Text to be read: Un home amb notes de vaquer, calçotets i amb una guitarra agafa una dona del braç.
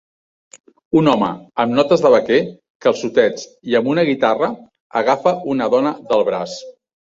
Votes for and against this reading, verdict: 2, 0, accepted